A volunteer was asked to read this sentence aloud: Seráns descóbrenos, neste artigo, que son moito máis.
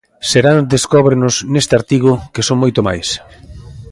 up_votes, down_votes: 0, 2